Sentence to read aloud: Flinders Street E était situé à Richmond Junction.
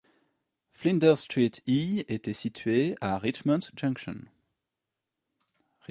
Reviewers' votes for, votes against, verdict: 2, 0, accepted